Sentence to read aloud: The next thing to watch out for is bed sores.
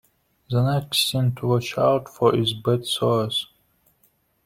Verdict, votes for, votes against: rejected, 1, 2